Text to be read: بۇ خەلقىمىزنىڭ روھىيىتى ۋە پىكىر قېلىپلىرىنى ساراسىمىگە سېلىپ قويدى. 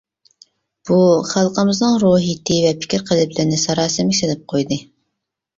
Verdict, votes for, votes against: accepted, 2, 1